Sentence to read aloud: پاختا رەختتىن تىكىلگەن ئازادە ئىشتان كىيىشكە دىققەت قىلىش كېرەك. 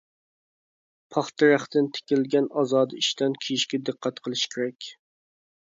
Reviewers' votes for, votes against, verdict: 2, 0, accepted